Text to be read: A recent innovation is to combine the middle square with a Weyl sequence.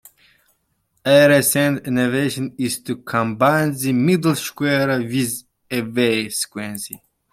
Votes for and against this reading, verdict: 1, 2, rejected